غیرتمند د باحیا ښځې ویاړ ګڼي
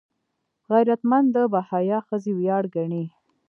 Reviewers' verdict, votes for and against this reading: rejected, 0, 2